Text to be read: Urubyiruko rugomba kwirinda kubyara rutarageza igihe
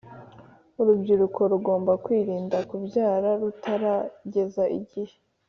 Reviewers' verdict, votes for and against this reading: accepted, 2, 0